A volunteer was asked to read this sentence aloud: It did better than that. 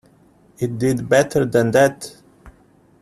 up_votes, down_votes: 2, 0